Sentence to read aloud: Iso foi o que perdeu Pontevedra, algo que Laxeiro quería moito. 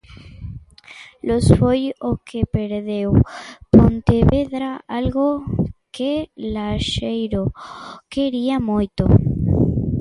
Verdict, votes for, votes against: rejected, 0, 2